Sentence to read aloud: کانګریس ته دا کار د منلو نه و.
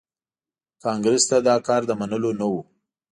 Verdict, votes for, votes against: accepted, 3, 0